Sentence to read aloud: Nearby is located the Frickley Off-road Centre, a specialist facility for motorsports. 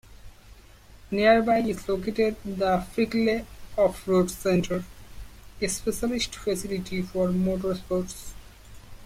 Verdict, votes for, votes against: accepted, 2, 0